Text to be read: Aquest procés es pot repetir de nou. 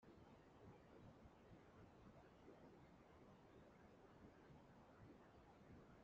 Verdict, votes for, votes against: rejected, 0, 2